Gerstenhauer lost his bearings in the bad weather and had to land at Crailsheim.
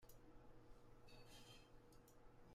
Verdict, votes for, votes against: rejected, 0, 2